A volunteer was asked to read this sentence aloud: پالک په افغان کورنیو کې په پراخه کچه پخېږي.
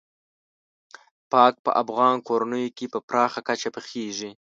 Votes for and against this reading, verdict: 0, 2, rejected